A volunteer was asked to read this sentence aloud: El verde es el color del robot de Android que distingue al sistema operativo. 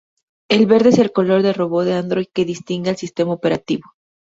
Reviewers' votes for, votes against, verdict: 2, 0, accepted